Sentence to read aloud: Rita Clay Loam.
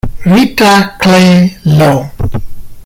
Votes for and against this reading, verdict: 2, 0, accepted